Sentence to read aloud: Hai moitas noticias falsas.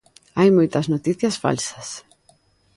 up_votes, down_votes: 2, 0